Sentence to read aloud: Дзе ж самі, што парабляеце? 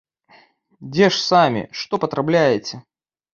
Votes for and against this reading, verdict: 1, 2, rejected